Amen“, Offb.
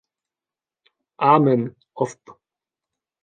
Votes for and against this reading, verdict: 1, 2, rejected